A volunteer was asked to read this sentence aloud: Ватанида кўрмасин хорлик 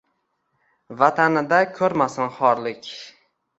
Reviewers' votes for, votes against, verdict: 2, 1, accepted